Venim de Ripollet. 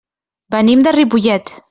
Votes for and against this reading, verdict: 1, 2, rejected